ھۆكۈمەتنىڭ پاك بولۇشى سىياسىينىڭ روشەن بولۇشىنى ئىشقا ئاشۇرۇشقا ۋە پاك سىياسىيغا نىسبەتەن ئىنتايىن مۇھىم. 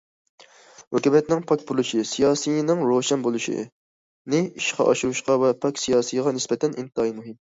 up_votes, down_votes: 0, 2